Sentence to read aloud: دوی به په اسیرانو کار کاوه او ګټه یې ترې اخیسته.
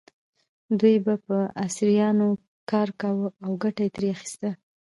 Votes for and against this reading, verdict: 2, 0, accepted